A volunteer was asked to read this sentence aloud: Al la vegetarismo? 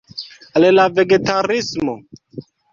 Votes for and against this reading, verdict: 0, 2, rejected